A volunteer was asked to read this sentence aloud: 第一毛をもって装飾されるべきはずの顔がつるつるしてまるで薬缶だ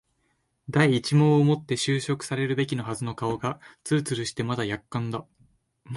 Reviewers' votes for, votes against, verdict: 2, 2, rejected